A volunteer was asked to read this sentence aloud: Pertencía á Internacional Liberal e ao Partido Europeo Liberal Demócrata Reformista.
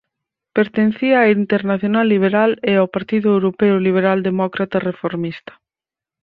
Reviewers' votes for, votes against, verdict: 4, 0, accepted